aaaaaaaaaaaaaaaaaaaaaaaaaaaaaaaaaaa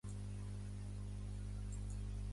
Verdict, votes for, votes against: rejected, 1, 3